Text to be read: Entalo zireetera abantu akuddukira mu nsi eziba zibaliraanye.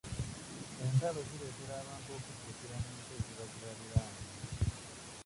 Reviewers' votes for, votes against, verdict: 0, 2, rejected